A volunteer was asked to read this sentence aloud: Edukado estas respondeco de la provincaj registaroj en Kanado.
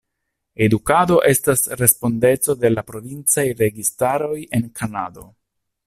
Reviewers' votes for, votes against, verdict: 2, 0, accepted